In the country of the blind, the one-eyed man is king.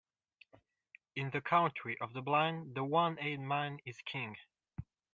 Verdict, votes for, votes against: rejected, 1, 2